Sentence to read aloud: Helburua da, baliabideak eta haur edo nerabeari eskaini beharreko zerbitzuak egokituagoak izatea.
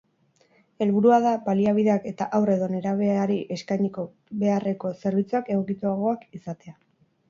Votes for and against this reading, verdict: 0, 2, rejected